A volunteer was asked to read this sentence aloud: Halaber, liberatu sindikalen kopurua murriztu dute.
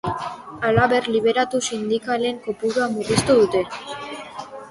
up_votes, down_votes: 2, 0